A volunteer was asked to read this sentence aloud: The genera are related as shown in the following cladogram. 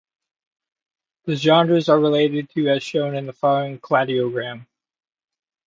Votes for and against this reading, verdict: 1, 2, rejected